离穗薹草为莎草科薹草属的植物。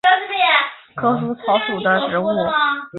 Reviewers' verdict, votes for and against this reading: rejected, 0, 5